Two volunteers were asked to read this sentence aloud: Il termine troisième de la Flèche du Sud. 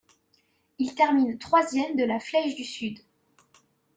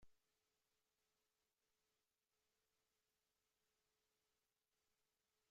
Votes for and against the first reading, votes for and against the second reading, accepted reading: 2, 0, 0, 2, first